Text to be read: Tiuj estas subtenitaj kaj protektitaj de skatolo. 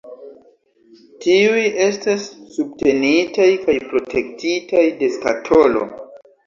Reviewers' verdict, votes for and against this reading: accepted, 2, 0